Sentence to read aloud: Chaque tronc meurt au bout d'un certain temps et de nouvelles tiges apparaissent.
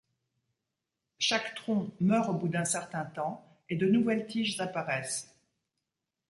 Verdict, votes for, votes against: accepted, 2, 0